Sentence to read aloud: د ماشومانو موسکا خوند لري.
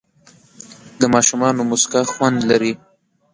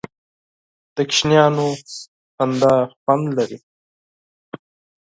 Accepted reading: first